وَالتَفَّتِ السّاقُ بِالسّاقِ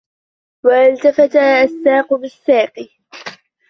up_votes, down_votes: 2, 0